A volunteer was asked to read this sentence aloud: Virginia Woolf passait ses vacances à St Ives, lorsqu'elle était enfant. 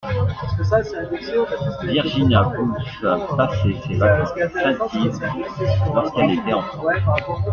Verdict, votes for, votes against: rejected, 0, 2